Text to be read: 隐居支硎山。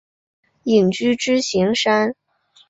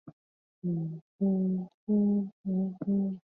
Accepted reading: first